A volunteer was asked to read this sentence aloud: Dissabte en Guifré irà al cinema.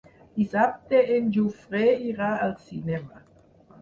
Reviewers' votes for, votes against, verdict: 0, 4, rejected